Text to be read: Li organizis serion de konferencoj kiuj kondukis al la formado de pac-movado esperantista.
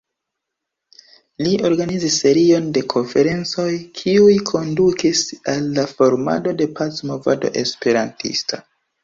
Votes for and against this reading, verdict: 2, 1, accepted